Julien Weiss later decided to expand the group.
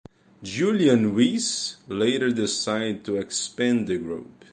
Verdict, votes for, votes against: rejected, 0, 2